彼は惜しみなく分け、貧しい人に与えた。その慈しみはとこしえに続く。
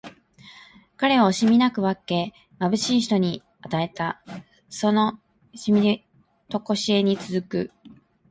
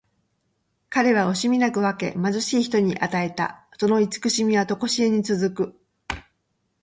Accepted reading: second